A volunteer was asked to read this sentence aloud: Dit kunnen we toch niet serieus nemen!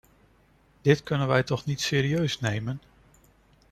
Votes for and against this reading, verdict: 0, 2, rejected